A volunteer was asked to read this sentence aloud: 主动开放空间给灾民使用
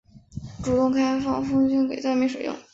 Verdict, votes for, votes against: accepted, 3, 0